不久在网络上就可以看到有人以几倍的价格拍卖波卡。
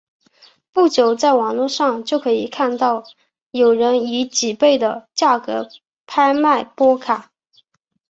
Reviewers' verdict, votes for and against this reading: accepted, 5, 0